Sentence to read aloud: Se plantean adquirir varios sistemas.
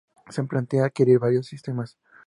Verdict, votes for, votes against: rejected, 2, 2